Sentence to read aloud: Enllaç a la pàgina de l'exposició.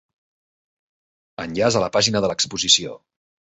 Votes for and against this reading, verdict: 3, 1, accepted